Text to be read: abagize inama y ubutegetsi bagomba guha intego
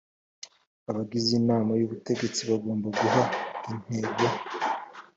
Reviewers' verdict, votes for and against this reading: accepted, 2, 0